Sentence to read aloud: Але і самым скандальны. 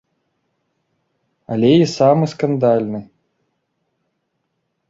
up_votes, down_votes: 1, 2